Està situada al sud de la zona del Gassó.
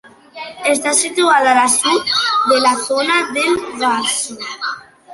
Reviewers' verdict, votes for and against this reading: rejected, 0, 2